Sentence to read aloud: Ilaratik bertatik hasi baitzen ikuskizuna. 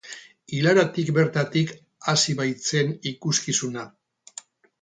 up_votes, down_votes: 4, 0